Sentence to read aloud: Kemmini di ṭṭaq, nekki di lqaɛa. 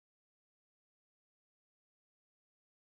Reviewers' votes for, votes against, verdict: 0, 2, rejected